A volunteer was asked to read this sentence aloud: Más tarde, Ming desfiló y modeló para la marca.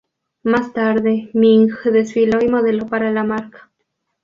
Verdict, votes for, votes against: rejected, 0, 2